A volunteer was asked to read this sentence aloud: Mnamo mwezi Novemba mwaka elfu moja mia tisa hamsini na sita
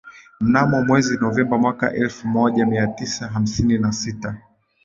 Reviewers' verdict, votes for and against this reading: accepted, 15, 2